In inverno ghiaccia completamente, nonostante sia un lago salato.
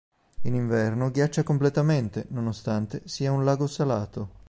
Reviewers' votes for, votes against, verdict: 3, 0, accepted